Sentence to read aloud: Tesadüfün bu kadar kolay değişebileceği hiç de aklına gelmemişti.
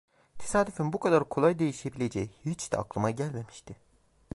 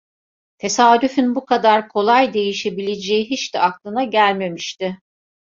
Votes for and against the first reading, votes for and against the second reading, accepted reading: 0, 2, 2, 0, second